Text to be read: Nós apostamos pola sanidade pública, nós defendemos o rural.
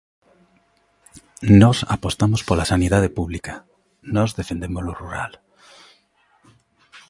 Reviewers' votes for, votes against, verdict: 2, 0, accepted